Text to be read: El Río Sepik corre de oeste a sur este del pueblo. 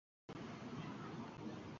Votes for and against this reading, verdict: 0, 2, rejected